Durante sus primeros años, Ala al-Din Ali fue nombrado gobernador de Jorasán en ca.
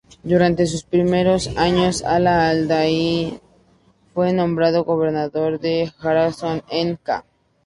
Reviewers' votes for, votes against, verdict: 2, 0, accepted